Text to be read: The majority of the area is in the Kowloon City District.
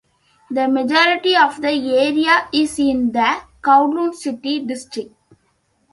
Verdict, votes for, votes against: rejected, 1, 2